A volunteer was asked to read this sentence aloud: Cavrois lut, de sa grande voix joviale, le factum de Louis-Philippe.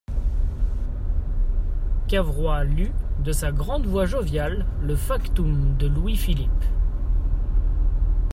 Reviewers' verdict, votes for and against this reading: accepted, 2, 0